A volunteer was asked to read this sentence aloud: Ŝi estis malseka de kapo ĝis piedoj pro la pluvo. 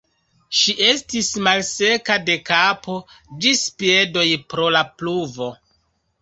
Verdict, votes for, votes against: accepted, 2, 1